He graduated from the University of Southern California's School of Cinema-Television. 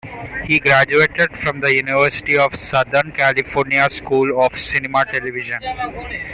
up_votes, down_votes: 2, 0